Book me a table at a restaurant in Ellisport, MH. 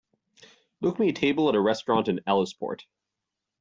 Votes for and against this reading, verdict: 1, 2, rejected